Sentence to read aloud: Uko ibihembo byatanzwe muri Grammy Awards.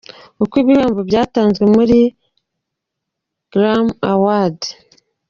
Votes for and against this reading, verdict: 2, 1, accepted